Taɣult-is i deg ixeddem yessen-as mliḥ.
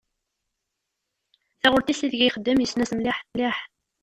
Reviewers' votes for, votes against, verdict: 0, 2, rejected